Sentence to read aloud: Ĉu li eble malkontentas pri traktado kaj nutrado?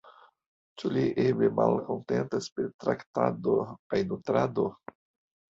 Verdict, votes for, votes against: accepted, 2, 0